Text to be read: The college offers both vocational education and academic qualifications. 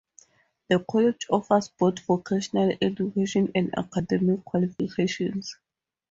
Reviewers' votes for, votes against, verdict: 2, 0, accepted